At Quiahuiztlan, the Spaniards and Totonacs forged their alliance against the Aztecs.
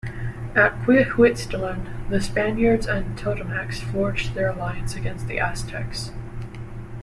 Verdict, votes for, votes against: accepted, 2, 1